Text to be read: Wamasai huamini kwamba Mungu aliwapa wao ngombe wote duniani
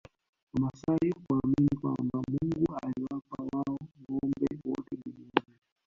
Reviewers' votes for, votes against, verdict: 2, 0, accepted